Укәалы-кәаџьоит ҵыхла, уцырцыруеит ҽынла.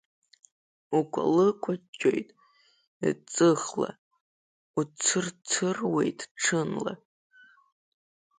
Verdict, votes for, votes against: accepted, 2, 1